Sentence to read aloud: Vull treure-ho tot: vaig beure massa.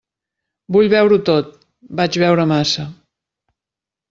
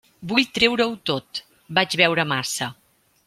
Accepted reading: second